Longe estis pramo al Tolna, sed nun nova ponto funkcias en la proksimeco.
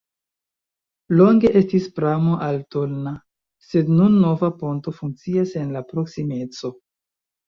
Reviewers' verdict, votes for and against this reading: rejected, 1, 2